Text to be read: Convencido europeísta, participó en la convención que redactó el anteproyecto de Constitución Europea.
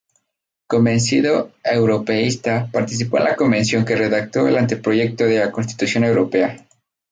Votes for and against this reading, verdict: 0, 2, rejected